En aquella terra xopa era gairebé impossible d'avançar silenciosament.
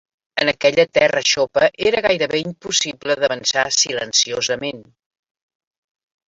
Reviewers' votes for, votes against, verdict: 2, 1, accepted